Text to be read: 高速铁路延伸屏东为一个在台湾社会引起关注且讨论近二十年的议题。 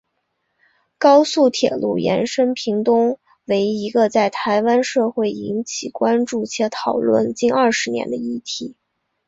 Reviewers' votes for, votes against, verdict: 2, 0, accepted